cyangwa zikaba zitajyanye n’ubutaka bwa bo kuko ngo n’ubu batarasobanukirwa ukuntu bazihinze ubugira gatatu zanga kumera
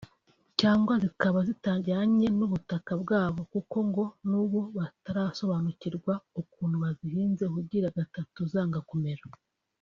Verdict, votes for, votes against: accepted, 2, 0